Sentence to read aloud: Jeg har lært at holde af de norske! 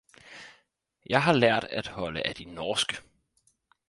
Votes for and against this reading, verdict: 4, 0, accepted